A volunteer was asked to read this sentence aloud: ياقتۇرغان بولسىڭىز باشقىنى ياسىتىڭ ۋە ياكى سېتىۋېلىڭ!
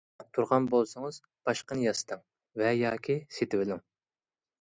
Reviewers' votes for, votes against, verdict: 1, 2, rejected